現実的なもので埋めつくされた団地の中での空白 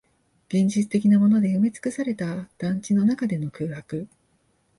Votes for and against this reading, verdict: 0, 2, rejected